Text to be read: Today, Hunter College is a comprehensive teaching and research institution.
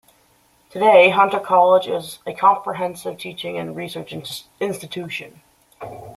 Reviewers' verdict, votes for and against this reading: rejected, 1, 2